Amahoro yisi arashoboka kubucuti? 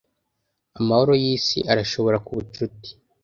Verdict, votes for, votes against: rejected, 1, 2